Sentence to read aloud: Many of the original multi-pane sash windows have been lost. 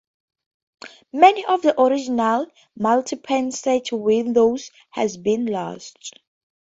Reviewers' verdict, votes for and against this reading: accepted, 2, 0